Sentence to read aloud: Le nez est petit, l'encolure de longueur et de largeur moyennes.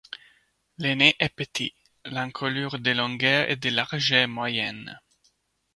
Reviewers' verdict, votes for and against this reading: accepted, 2, 0